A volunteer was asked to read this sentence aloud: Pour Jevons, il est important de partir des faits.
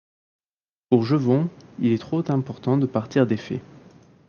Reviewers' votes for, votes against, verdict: 1, 2, rejected